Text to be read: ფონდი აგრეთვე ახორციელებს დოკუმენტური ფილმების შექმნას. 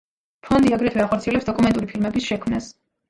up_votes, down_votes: 1, 2